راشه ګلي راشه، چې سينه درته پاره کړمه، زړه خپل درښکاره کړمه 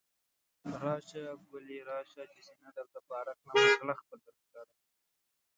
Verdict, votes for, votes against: rejected, 0, 2